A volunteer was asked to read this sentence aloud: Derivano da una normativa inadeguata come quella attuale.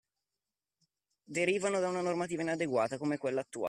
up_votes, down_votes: 0, 2